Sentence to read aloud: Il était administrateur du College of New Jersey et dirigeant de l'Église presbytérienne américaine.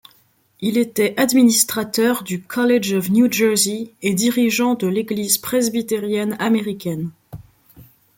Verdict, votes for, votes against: accepted, 2, 0